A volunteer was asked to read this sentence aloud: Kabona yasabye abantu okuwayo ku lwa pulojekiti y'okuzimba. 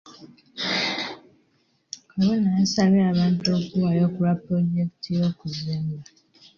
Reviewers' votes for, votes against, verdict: 2, 1, accepted